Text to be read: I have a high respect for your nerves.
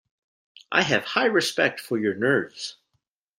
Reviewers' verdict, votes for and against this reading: rejected, 1, 2